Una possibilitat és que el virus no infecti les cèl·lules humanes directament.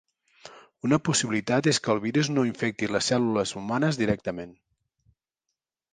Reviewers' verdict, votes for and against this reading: accepted, 3, 0